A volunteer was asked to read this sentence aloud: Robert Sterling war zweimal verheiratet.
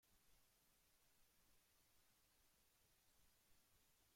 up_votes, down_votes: 0, 2